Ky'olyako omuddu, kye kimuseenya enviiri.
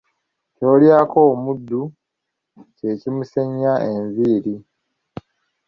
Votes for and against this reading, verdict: 2, 1, accepted